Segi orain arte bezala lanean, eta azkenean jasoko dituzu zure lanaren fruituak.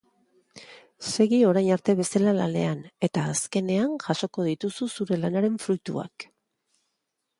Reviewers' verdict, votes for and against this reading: rejected, 1, 3